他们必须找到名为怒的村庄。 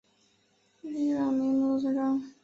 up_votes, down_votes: 0, 4